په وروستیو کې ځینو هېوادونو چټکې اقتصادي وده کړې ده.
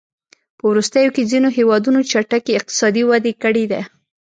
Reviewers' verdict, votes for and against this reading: accepted, 2, 1